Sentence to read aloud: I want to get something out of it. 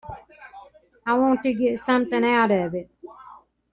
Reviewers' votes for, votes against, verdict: 1, 2, rejected